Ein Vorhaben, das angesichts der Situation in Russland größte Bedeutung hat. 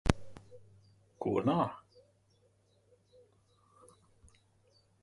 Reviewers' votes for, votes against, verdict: 0, 2, rejected